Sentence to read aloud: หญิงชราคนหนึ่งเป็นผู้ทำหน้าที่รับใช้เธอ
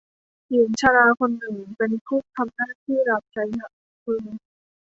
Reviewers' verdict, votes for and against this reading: rejected, 1, 2